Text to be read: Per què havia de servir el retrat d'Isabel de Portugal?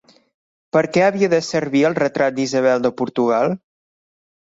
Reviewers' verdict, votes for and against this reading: accepted, 3, 0